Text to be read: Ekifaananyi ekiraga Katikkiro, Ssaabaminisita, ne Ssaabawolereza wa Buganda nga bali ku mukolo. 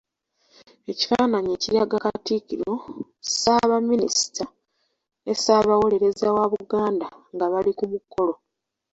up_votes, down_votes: 2, 0